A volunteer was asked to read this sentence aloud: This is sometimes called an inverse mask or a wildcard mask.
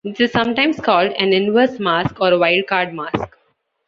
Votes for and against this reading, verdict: 2, 0, accepted